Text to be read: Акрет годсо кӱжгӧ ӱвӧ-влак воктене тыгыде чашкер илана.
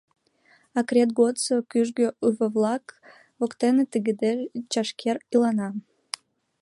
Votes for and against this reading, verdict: 0, 2, rejected